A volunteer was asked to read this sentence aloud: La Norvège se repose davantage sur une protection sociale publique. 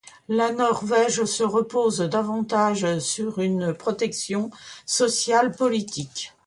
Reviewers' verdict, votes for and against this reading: rejected, 0, 2